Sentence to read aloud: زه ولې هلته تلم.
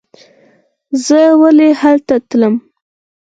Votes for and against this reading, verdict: 2, 4, rejected